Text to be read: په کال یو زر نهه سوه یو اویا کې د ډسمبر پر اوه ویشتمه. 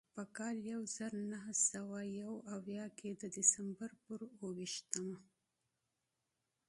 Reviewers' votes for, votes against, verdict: 2, 0, accepted